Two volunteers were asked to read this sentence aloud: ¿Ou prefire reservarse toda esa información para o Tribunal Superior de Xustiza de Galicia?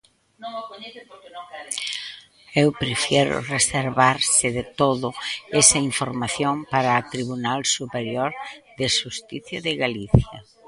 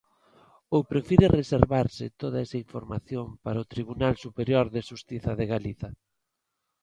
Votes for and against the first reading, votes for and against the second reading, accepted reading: 0, 2, 2, 1, second